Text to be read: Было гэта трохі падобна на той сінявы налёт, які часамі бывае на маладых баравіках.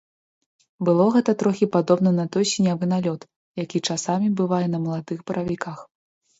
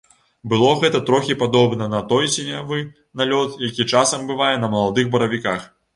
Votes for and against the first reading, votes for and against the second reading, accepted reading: 2, 0, 0, 2, first